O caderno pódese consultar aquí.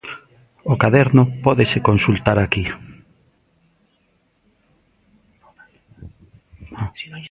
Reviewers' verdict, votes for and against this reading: rejected, 1, 2